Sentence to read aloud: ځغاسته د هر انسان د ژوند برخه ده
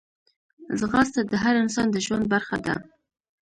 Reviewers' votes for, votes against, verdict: 2, 0, accepted